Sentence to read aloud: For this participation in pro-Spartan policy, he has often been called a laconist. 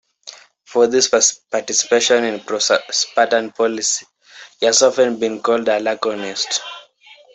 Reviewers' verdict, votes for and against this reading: rejected, 0, 2